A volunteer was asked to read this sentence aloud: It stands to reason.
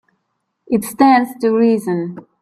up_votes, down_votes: 2, 0